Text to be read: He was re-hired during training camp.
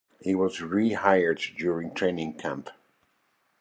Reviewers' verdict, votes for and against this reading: accepted, 2, 0